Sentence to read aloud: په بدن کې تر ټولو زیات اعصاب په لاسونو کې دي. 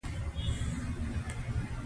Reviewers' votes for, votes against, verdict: 1, 2, rejected